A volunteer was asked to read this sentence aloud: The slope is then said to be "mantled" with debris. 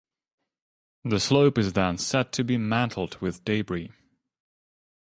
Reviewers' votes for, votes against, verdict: 2, 0, accepted